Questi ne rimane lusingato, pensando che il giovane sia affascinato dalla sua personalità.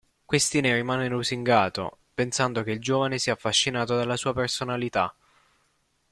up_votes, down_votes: 2, 1